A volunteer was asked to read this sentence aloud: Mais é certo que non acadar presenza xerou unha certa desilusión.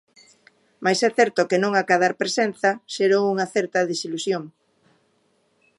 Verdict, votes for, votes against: accepted, 2, 0